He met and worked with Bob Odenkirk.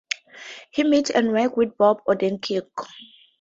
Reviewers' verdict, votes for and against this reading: rejected, 0, 2